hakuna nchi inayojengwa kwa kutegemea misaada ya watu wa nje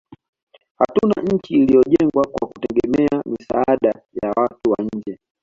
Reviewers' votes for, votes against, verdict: 2, 1, accepted